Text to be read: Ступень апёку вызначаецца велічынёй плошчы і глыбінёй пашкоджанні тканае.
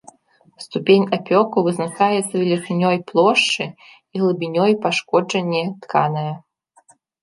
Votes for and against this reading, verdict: 0, 2, rejected